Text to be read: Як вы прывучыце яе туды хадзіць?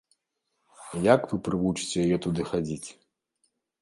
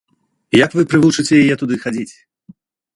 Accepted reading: first